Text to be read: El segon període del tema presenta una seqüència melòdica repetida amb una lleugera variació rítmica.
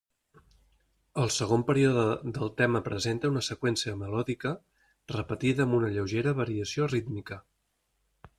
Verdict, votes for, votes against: accepted, 3, 0